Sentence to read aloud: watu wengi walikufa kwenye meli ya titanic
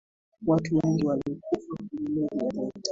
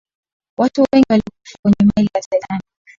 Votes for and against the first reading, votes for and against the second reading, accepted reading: 3, 2, 0, 2, first